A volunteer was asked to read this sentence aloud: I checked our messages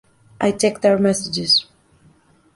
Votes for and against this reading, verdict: 2, 0, accepted